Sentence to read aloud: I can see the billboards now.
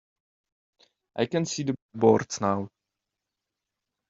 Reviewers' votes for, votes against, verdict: 1, 2, rejected